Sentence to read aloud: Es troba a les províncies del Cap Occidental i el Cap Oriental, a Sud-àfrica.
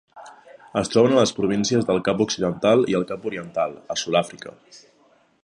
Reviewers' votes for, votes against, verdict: 1, 2, rejected